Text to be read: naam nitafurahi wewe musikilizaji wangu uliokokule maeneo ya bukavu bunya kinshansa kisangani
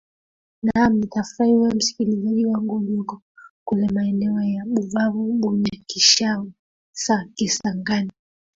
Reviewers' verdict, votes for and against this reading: rejected, 0, 2